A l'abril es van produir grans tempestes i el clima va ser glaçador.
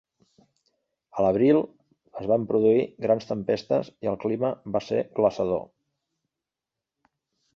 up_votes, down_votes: 3, 0